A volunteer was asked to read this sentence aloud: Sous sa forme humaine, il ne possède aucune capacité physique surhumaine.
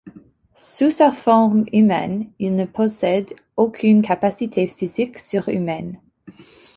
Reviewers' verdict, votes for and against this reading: accepted, 2, 1